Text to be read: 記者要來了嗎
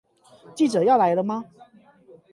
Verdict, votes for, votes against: accepted, 8, 0